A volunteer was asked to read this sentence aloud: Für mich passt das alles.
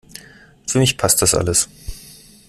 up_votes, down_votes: 2, 0